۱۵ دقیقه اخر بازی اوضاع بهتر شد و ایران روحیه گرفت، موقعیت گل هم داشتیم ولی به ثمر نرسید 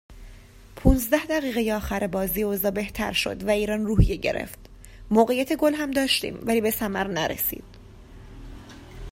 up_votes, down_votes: 0, 2